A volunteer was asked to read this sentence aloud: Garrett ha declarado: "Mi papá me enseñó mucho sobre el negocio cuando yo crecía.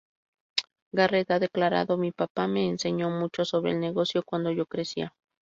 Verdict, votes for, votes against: accepted, 4, 2